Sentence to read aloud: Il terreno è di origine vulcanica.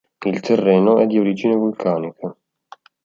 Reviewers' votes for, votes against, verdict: 2, 0, accepted